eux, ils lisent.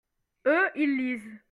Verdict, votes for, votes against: accepted, 2, 0